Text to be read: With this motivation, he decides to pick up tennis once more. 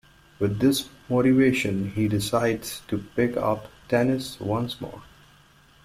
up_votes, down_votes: 2, 0